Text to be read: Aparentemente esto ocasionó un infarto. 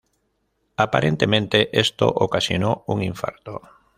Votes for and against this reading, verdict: 2, 0, accepted